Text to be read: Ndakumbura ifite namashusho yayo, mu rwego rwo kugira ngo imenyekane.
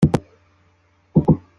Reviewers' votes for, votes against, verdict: 0, 3, rejected